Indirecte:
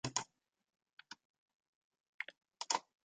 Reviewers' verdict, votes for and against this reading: rejected, 0, 2